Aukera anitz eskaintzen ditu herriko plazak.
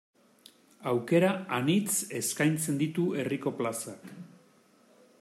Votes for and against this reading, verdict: 2, 0, accepted